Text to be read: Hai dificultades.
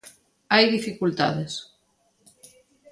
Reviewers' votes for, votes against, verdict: 2, 0, accepted